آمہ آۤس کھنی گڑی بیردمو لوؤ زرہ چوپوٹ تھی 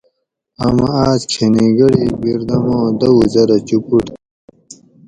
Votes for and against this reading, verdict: 2, 2, rejected